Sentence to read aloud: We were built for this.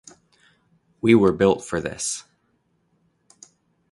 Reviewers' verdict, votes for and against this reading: accepted, 3, 0